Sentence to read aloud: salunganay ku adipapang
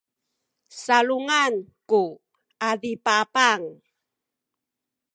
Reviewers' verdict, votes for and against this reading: accepted, 2, 0